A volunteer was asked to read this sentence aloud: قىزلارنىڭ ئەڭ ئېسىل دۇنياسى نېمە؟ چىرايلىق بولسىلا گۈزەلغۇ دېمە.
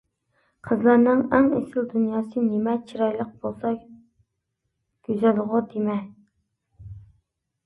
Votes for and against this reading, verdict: 1, 2, rejected